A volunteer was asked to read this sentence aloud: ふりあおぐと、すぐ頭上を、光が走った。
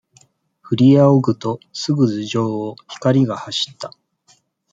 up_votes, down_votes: 2, 1